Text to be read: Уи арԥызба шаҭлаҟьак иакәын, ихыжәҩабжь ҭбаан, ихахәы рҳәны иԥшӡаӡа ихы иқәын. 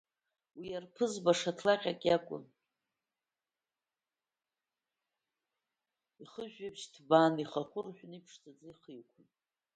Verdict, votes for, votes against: rejected, 1, 2